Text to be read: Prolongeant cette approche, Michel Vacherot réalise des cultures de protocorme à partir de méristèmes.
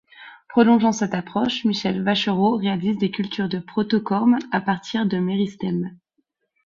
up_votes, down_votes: 2, 0